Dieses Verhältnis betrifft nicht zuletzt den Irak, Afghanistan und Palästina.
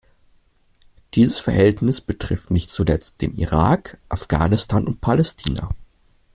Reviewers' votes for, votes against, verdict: 3, 0, accepted